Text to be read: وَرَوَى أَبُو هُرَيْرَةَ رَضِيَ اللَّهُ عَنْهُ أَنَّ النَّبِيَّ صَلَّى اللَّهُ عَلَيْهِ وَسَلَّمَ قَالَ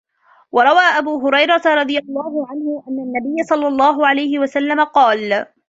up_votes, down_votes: 2, 0